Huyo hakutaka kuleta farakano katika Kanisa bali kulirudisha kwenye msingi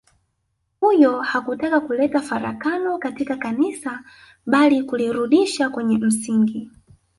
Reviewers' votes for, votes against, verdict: 1, 2, rejected